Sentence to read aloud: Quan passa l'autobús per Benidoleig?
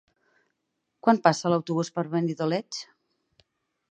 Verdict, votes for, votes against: accepted, 4, 0